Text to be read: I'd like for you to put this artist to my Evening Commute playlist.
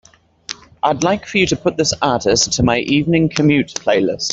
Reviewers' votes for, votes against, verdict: 2, 0, accepted